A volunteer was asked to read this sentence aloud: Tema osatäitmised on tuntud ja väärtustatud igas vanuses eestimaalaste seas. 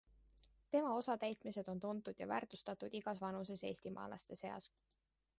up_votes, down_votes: 2, 0